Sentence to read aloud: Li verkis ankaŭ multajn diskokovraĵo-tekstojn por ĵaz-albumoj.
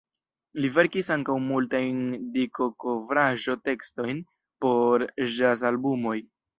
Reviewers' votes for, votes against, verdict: 1, 2, rejected